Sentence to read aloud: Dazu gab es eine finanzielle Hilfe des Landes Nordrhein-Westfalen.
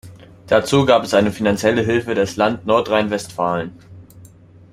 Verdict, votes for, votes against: rejected, 0, 2